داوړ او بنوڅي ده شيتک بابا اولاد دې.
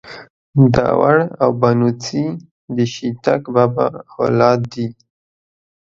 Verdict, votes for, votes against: accepted, 2, 0